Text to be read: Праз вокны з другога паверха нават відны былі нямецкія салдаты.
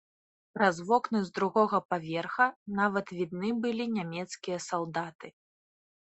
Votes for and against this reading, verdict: 2, 0, accepted